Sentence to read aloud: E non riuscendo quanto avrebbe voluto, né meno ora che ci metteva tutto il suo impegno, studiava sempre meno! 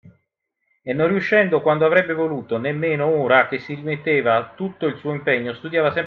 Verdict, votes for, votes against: rejected, 0, 2